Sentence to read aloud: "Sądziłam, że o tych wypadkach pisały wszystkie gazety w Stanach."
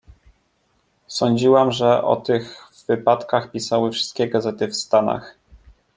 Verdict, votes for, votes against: rejected, 1, 2